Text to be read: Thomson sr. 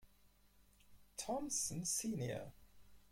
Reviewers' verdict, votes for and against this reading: rejected, 0, 4